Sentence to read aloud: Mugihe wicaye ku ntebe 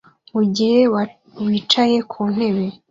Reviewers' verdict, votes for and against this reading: accepted, 2, 1